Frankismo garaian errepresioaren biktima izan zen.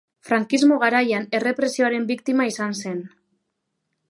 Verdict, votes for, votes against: accepted, 2, 0